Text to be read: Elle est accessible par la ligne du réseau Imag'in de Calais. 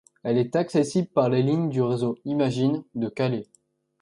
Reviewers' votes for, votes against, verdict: 2, 0, accepted